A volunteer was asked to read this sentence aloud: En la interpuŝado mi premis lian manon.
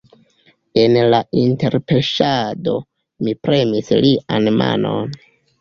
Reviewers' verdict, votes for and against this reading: rejected, 1, 3